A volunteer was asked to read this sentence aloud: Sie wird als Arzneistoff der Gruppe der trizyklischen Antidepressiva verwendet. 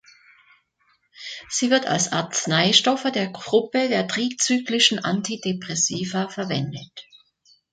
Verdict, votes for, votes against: rejected, 1, 2